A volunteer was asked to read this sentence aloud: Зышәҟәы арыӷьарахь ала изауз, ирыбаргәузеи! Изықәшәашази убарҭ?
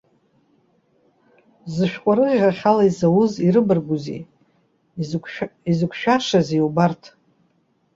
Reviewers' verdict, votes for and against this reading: rejected, 1, 2